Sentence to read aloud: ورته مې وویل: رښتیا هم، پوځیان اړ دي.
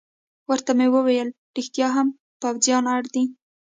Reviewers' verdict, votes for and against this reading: rejected, 1, 2